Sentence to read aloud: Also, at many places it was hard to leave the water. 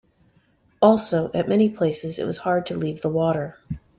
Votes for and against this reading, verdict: 2, 0, accepted